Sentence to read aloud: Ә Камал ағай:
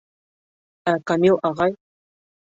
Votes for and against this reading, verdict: 0, 2, rejected